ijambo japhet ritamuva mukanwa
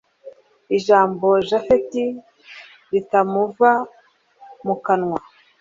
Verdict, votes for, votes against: accepted, 2, 0